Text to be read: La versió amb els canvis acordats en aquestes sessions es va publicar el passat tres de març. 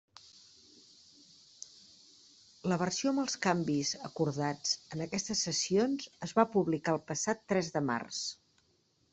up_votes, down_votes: 3, 0